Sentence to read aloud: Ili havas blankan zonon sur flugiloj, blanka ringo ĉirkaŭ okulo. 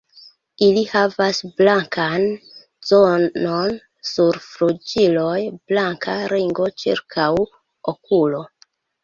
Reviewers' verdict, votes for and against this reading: rejected, 1, 2